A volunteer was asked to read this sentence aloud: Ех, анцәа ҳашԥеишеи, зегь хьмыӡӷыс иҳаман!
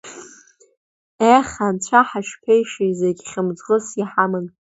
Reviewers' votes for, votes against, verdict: 2, 0, accepted